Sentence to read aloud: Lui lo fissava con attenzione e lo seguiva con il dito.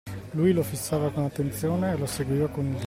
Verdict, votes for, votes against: rejected, 0, 2